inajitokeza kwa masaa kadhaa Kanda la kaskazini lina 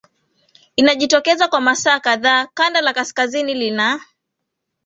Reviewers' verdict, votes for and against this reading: accepted, 3, 0